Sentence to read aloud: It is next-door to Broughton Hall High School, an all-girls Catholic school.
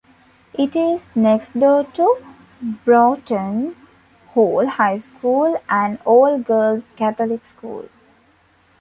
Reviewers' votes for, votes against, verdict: 2, 1, accepted